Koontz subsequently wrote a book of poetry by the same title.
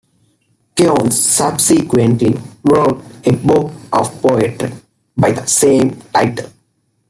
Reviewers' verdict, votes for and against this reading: accepted, 2, 1